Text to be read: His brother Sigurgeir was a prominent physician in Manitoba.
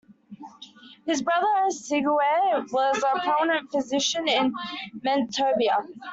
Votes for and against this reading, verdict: 1, 2, rejected